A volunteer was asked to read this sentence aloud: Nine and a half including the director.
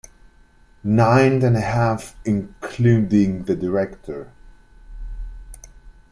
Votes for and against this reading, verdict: 1, 2, rejected